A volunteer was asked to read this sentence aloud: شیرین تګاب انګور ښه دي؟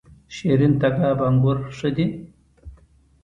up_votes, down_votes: 2, 0